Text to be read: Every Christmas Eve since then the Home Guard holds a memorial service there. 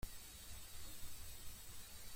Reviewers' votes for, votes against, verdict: 0, 2, rejected